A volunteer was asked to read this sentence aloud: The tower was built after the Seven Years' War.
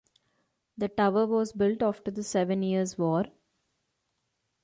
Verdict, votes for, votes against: accepted, 2, 0